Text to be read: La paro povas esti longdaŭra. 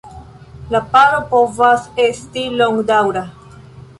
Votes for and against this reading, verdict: 1, 2, rejected